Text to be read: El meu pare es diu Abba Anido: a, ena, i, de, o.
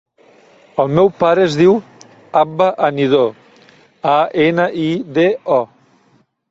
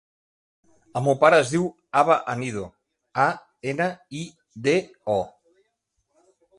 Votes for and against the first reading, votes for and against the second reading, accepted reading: 0, 2, 3, 0, second